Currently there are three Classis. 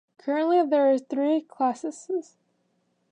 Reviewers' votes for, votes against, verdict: 0, 2, rejected